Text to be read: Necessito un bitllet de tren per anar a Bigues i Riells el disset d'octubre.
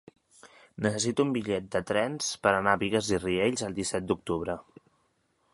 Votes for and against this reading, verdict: 1, 2, rejected